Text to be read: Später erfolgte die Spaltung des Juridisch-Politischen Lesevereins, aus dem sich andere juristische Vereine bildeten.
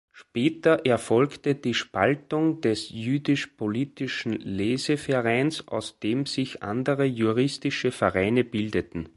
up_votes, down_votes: 0, 4